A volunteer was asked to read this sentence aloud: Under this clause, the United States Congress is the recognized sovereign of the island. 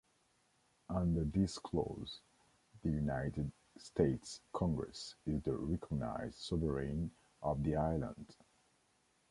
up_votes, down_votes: 2, 0